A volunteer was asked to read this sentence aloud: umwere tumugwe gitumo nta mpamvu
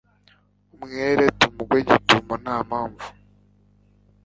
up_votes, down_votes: 2, 0